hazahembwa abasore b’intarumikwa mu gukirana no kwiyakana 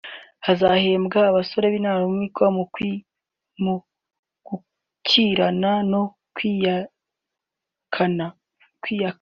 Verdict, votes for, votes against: rejected, 0, 3